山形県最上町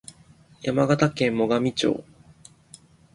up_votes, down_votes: 2, 0